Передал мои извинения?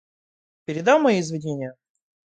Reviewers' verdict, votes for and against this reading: accepted, 2, 0